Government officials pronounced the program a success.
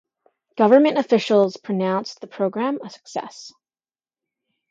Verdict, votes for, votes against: accepted, 2, 0